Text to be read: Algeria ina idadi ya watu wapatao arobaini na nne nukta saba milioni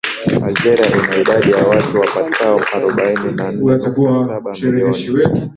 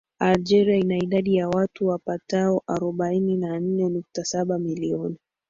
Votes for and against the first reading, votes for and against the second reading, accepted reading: 0, 2, 2, 0, second